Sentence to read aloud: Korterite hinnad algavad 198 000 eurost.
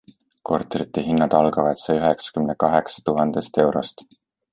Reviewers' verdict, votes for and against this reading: rejected, 0, 2